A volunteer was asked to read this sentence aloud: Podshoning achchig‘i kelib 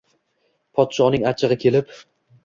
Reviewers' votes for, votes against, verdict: 2, 0, accepted